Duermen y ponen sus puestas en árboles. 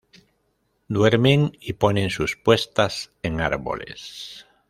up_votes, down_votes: 0, 2